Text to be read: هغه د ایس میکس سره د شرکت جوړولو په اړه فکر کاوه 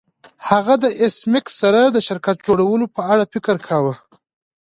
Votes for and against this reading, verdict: 2, 0, accepted